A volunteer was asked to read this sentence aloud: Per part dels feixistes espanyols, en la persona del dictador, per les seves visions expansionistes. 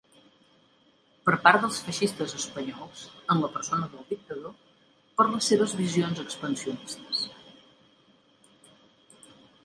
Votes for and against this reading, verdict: 1, 2, rejected